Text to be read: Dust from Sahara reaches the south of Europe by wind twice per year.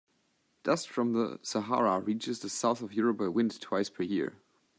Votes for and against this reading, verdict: 0, 2, rejected